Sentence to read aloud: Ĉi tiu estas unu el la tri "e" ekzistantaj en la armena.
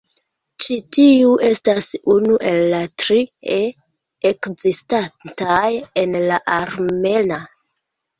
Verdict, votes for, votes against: rejected, 1, 2